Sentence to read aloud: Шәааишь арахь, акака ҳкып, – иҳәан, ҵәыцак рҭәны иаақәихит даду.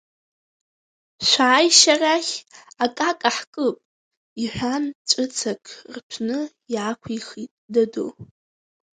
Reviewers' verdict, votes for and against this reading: accepted, 2, 0